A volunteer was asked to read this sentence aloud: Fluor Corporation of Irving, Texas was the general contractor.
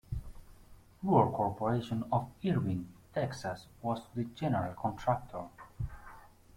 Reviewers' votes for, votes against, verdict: 0, 2, rejected